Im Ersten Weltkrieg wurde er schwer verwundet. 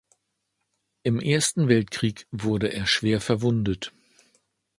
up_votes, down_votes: 2, 0